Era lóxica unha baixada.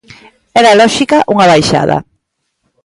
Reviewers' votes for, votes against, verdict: 2, 0, accepted